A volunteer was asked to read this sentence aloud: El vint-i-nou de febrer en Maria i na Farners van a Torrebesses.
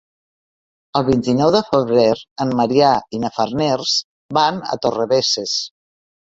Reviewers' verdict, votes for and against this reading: rejected, 0, 2